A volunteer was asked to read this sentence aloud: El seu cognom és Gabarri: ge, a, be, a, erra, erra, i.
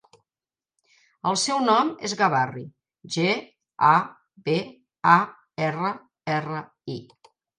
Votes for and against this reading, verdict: 0, 2, rejected